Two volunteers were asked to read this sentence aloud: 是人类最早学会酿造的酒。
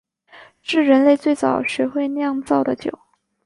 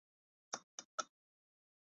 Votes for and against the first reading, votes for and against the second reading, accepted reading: 3, 1, 0, 2, first